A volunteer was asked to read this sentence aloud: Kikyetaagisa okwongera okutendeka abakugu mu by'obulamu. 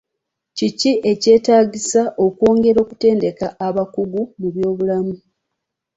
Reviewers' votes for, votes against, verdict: 1, 2, rejected